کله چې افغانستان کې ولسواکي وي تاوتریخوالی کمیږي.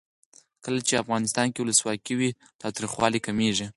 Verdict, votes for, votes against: accepted, 4, 0